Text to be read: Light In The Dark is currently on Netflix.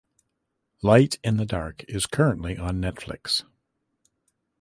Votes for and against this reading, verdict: 2, 0, accepted